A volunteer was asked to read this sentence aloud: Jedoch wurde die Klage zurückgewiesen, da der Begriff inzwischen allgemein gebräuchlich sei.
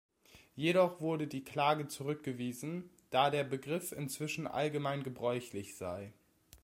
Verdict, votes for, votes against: accepted, 2, 0